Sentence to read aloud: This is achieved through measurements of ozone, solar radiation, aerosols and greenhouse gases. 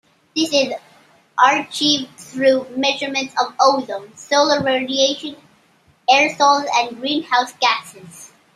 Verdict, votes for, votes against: accepted, 2, 1